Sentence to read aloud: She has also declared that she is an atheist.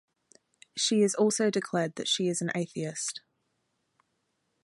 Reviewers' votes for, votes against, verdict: 2, 0, accepted